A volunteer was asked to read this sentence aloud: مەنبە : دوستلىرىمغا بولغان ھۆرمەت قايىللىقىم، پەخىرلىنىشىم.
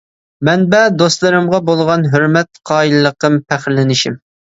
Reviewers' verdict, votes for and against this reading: accepted, 2, 0